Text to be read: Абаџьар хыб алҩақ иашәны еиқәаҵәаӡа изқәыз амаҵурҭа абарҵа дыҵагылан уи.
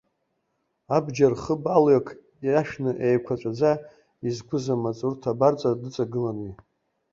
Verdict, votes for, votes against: rejected, 1, 3